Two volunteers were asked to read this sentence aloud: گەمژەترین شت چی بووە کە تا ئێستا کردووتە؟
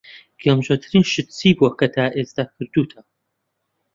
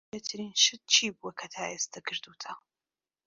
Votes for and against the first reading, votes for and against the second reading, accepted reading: 2, 0, 0, 2, first